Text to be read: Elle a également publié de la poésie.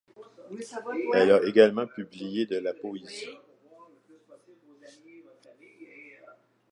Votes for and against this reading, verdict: 2, 1, accepted